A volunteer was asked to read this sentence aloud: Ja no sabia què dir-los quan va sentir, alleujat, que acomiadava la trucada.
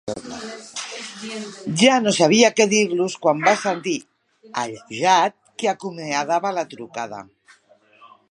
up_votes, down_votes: 0, 2